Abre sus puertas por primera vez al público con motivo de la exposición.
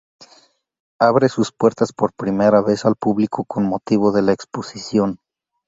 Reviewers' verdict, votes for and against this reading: accepted, 2, 0